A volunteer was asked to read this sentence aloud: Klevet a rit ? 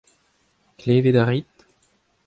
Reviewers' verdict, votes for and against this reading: accepted, 2, 0